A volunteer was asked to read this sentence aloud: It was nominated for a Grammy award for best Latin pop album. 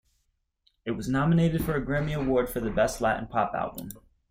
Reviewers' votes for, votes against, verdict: 2, 1, accepted